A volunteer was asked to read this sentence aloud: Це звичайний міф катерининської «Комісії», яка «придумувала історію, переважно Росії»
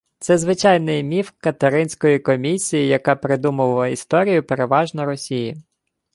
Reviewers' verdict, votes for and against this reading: rejected, 1, 2